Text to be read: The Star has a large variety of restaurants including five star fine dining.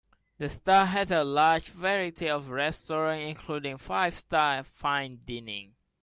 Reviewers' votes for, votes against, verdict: 0, 2, rejected